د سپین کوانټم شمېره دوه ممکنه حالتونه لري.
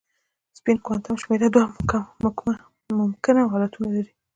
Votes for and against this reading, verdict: 0, 2, rejected